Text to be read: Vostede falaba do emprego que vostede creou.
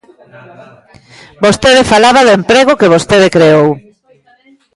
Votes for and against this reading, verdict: 0, 2, rejected